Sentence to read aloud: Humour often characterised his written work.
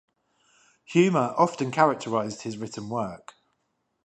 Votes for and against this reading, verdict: 5, 0, accepted